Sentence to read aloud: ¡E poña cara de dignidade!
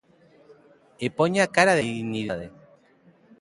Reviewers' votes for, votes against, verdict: 0, 2, rejected